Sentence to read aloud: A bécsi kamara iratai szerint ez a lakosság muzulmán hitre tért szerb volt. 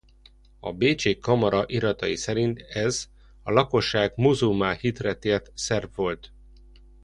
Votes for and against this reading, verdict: 2, 0, accepted